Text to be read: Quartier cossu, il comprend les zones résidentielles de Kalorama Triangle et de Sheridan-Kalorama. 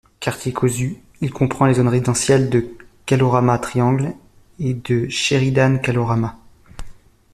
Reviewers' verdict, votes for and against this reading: rejected, 0, 2